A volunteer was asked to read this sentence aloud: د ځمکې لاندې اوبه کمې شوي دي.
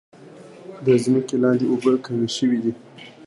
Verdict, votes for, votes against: accepted, 2, 1